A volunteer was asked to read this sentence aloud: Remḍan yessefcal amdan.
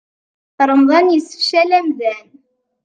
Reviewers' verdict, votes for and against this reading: accepted, 2, 0